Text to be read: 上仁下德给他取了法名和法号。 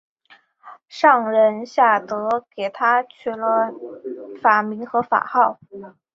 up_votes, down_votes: 2, 0